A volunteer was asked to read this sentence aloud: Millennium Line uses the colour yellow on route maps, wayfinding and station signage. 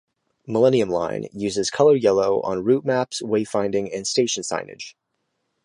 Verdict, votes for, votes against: rejected, 1, 2